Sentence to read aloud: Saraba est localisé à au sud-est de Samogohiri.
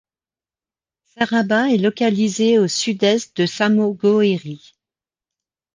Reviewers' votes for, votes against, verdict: 0, 2, rejected